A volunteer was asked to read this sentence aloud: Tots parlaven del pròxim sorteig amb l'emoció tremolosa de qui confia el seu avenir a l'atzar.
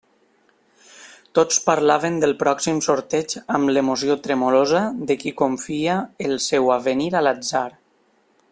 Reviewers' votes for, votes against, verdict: 1, 2, rejected